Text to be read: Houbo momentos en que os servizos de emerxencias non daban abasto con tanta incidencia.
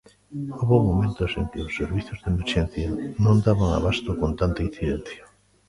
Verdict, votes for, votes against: rejected, 0, 2